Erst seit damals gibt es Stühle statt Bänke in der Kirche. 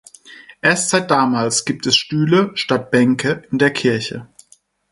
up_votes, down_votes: 4, 2